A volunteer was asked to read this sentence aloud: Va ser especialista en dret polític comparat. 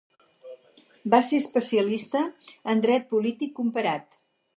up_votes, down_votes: 6, 0